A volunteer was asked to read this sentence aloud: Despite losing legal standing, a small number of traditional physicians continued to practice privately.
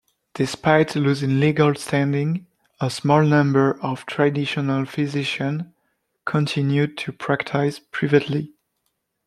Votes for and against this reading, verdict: 1, 2, rejected